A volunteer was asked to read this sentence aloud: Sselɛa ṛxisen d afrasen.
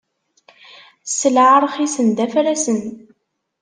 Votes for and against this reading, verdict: 2, 0, accepted